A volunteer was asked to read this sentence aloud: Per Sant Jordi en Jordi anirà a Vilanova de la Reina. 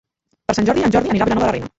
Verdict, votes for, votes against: rejected, 0, 2